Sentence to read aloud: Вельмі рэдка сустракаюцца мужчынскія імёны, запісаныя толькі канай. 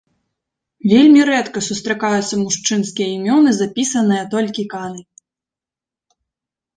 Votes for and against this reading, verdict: 2, 1, accepted